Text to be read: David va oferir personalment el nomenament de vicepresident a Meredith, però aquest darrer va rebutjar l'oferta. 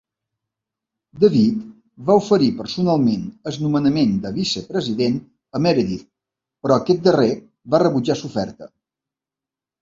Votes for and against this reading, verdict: 0, 3, rejected